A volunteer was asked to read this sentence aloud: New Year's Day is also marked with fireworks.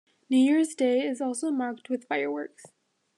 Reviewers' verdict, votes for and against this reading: accepted, 2, 0